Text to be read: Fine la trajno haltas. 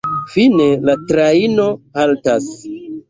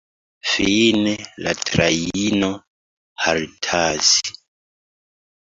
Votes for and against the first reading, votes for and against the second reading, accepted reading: 2, 1, 1, 2, first